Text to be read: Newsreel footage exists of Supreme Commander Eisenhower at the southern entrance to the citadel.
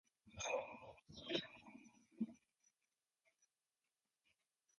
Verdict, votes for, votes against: rejected, 0, 2